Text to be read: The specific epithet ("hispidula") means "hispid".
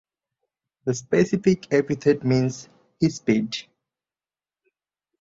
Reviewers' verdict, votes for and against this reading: rejected, 0, 2